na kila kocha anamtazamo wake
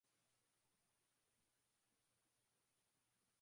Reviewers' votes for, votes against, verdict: 0, 3, rejected